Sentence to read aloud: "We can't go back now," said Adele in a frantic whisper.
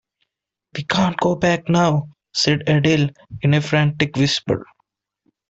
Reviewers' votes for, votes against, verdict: 2, 0, accepted